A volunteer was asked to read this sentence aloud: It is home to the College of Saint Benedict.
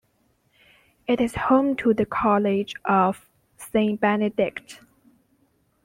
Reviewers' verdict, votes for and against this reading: accepted, 2, 0